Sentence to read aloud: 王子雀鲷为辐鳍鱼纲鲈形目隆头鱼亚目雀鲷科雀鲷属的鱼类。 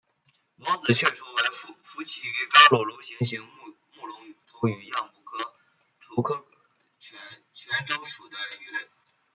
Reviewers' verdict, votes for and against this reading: rejected, 0, 2